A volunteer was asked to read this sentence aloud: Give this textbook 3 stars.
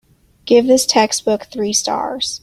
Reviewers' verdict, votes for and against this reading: rejected, 0, 2